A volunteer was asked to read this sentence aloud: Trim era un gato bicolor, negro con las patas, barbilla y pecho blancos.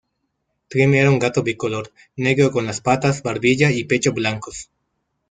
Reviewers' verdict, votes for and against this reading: accepted, 2, 1